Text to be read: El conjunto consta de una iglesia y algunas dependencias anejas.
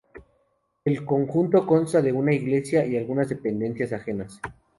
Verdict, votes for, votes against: rejected, 2, 2